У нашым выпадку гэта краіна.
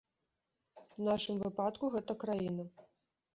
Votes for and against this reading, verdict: 1, 2, rejected